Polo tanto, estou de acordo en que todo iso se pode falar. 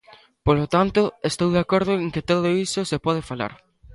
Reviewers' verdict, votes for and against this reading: rejected, 1, 2